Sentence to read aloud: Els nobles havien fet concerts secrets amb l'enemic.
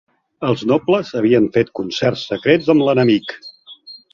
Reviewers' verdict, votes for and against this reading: accepted, 2, 0